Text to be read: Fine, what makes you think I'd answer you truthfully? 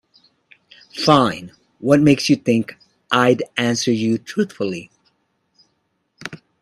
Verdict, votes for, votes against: accepted, 2, 0